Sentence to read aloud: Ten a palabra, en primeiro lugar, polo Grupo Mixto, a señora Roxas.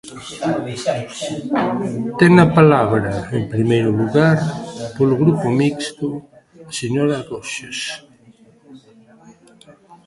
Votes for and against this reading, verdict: 0, 2, rejected